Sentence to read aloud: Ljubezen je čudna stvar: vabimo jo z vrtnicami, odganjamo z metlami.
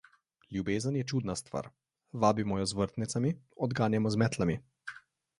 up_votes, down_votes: 2, 0